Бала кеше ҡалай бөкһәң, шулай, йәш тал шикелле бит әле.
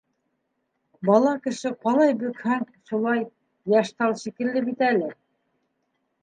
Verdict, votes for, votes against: accepted, 3, 0